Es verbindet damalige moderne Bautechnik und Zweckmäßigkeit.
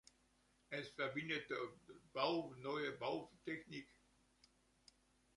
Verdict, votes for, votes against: rejected, 0, 2